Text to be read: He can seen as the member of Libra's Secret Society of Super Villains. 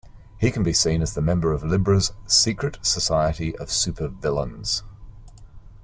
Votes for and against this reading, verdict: 0, 2, rejected